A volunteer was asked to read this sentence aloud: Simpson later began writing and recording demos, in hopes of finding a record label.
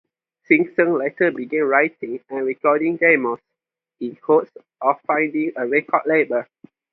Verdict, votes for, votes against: accepted, 2, 0